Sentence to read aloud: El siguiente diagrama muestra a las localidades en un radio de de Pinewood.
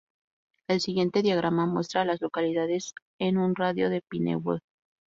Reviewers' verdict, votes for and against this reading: rejected, 0, 4